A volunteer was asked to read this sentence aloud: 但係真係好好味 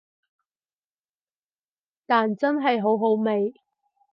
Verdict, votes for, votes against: rejected, 4, 4